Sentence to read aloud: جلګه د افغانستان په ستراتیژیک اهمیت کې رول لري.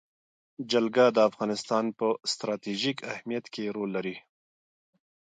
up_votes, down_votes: 2, 0